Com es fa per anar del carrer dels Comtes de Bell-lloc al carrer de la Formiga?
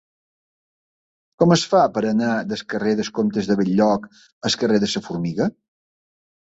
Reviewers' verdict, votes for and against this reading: rejected, 1, 4